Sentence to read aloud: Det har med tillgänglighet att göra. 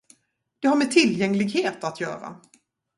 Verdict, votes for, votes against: rejected, 0, 2